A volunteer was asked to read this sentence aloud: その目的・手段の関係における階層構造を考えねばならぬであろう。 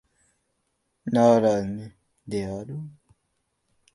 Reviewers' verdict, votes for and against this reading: rejected, 0, 2